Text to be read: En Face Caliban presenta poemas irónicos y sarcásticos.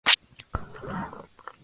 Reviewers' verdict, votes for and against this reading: rejected, 0, 2